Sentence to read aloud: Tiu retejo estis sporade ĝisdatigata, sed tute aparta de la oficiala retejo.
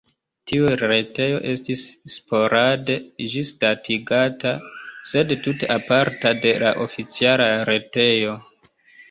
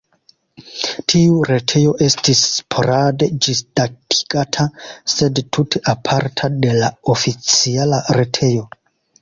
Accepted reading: second